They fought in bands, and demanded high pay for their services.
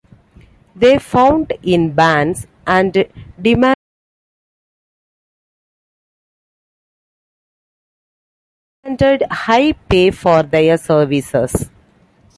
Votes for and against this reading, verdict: 0, 2, rejected